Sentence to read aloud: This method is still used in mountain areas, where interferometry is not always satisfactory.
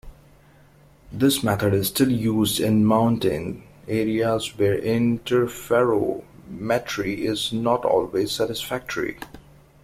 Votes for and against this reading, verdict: 0, 2, rejected